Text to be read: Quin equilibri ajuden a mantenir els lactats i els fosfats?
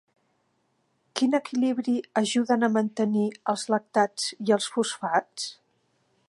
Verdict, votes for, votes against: accepted, 3, 0